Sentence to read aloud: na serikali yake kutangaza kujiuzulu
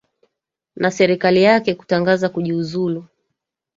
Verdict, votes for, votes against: rejected, 1, 2